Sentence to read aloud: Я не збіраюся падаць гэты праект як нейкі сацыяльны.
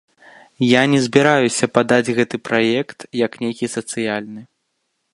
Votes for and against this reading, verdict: 2, 0, accepted